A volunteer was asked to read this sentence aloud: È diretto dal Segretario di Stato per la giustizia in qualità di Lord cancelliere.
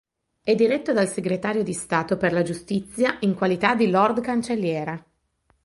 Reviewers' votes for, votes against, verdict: 1, 3, rejected